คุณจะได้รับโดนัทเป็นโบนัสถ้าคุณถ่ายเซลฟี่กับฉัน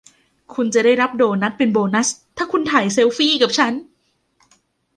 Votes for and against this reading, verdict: 2, 0, accepted